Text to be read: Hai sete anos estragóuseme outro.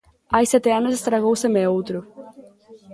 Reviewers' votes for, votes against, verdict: 1, 2, rejected